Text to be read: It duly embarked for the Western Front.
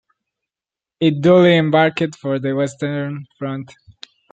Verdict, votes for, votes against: rejected, 1, 2